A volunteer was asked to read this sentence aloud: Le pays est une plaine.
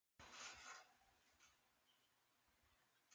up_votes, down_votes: 0, 2